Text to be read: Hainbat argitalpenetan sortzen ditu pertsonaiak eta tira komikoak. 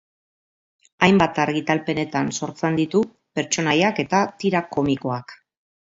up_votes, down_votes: 2, 0